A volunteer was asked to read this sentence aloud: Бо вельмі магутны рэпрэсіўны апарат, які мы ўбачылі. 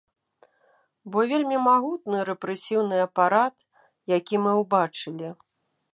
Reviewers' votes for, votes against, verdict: 2, 0, accepted